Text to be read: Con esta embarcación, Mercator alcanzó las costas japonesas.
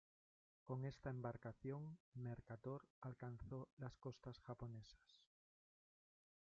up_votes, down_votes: 1, 2